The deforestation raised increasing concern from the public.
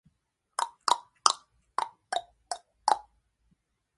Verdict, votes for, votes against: rejected, 0, 2